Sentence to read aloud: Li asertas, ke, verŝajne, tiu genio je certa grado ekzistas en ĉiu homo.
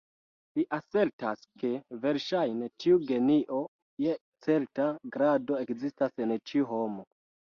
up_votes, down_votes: 1, 2